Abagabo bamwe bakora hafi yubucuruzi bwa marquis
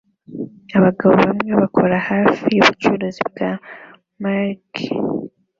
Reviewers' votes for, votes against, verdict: 2, 0, accepted